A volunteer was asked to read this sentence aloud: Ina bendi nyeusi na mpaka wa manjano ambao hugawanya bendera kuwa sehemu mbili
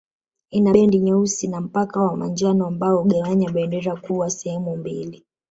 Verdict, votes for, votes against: accepted, 2, 0